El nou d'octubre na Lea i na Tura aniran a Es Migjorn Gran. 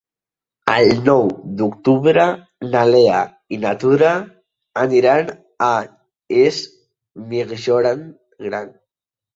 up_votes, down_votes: 0, 2